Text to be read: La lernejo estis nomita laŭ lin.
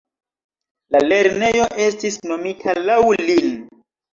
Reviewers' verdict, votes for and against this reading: rejected, 1, 2